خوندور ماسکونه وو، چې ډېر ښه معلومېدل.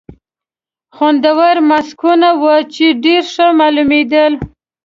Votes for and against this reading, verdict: 2, 0, accepted